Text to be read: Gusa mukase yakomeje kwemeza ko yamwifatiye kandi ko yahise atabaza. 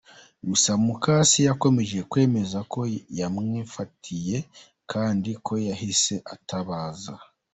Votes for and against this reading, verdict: 2, 0, accepted